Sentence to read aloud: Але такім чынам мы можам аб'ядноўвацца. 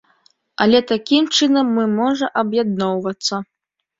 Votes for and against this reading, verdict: 0, 2, rejected